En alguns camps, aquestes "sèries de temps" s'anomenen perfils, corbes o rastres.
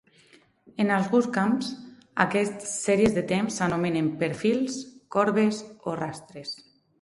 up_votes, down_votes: 0, 4